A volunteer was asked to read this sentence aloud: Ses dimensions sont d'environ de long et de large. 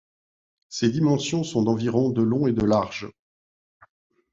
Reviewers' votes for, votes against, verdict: 2, 0, accepted